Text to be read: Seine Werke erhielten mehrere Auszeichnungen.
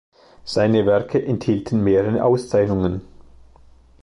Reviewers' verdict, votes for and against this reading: rejected, 1, 2